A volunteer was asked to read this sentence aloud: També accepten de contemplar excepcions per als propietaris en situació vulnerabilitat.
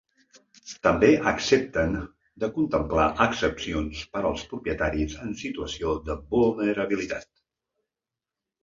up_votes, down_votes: 0, 2